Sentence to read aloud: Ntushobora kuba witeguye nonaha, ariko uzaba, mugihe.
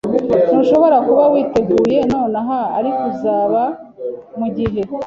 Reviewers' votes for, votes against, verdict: 3, 0, accepted